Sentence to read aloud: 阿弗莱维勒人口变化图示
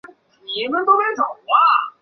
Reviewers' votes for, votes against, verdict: 1, 2, rejected